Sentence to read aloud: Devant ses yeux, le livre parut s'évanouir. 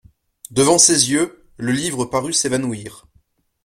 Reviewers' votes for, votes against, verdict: 2, 0, accepted